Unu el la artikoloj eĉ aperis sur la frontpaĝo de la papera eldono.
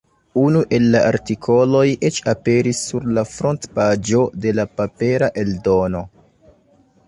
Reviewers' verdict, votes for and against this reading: accepted, 2, 0